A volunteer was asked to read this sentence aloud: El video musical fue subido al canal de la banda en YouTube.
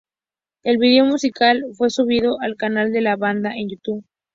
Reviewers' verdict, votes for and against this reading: accepted, 4, 0